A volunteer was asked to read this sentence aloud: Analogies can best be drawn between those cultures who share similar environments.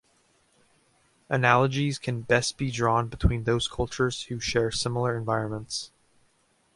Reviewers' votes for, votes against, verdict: 2, 0, accepted